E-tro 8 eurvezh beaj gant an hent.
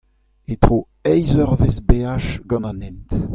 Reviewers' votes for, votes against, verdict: 0, 2, rejected